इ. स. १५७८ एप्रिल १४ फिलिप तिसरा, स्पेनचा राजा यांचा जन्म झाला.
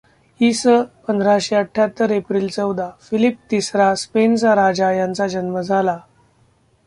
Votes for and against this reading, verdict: 0, 2, rejected